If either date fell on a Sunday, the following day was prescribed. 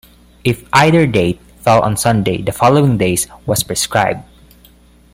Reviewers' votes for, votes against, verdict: 1, 2, rejected